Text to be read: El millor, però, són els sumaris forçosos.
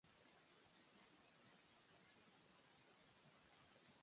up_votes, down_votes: 0, 2